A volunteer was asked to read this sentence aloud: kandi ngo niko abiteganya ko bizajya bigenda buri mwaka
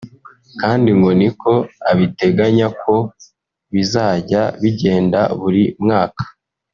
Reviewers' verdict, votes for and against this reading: rejected, 0, 2